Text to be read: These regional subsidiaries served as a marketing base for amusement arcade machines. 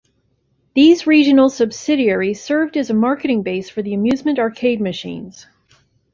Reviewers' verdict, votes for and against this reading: rejected, 1, 2